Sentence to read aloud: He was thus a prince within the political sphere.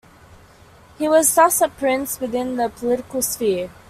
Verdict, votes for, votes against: accepted, 2, 0